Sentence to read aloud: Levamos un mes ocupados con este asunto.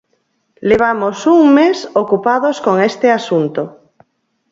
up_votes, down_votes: 0, 4